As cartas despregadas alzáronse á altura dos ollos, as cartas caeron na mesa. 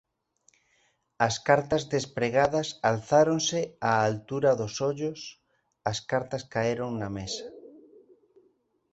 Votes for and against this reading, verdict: 2, 0, accepted